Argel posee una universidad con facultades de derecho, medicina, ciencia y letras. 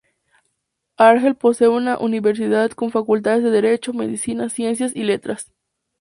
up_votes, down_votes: 2, 0